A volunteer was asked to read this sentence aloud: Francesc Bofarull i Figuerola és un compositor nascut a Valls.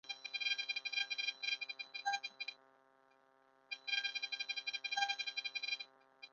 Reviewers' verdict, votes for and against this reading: rejected, 0, 2